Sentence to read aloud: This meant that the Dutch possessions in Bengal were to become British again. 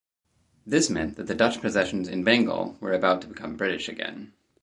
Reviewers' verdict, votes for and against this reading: rejected, 2, 2